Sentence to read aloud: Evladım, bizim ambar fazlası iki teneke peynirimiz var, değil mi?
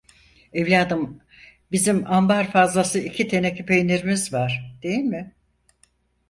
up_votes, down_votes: 4, 0